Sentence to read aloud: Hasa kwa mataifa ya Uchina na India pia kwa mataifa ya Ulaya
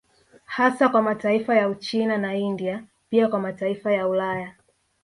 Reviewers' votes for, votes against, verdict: 2, 0, accepted